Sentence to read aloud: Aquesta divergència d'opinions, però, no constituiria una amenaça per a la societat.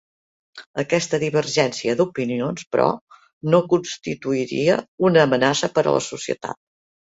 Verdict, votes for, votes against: accepted, 3, 0